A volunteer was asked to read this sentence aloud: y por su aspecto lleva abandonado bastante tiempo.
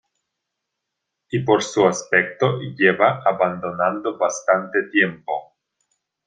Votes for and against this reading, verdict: 0, 2, rejected